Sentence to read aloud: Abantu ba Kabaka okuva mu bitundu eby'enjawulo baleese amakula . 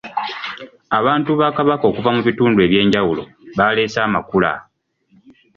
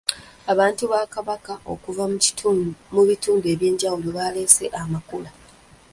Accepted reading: first